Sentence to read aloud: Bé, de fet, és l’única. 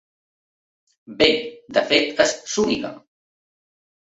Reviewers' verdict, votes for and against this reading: rejected, 1, 2